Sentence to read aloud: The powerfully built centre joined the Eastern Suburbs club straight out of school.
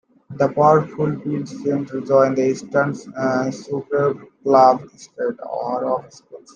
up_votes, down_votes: 2, 1